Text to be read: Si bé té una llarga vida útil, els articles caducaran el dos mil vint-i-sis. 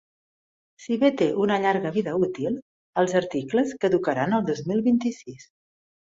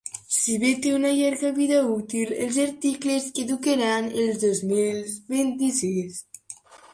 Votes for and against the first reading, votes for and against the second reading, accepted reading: 2, 0, 1, 2, first